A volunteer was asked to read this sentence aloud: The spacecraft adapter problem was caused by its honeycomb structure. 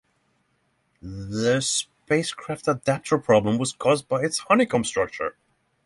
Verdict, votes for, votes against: accepted, 6, 0